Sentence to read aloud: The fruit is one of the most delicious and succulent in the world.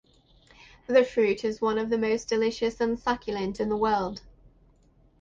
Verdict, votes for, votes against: rejected, 4, 4